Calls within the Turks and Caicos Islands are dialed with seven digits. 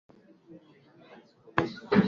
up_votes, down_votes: 0, 2